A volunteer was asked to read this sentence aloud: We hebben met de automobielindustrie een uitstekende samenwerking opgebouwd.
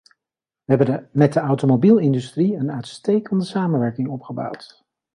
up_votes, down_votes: 0, 2